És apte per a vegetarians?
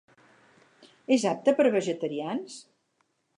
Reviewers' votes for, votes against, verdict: 4, 0, accepted